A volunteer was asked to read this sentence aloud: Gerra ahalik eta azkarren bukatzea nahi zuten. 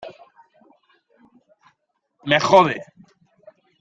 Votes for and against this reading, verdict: 0, 2, rejected